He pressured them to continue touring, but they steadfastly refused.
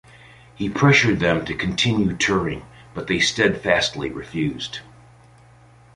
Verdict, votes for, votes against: accepted, 2, 0